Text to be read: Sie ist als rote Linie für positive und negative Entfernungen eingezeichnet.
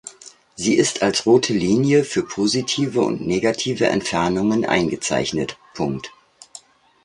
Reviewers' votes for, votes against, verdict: 1, 2, rejected